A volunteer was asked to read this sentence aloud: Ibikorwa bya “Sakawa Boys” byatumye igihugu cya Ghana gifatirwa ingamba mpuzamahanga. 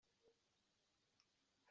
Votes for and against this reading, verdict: 0, 2, rejected